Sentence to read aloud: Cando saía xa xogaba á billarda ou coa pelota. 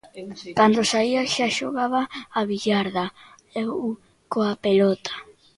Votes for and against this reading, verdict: 0, 2, rejected